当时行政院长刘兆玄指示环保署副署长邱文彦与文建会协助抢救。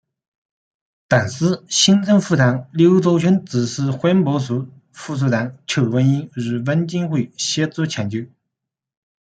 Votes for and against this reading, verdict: 2, 1, accepted